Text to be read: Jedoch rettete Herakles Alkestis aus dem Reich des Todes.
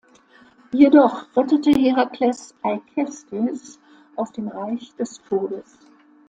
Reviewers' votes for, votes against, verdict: 0, 2, rejected